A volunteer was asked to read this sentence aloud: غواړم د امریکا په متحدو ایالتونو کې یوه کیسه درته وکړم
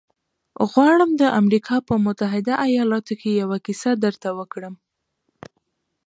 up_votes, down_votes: 2, 1